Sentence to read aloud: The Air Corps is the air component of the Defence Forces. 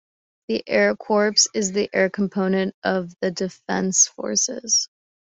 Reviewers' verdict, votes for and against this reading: accepted, 2, 0